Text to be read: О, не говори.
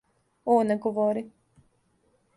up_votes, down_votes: 2, 0